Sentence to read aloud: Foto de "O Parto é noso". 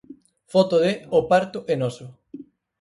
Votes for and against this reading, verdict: 4, 0, accepted